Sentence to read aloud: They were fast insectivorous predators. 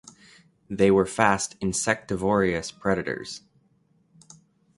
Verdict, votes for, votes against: rejected, 1, 2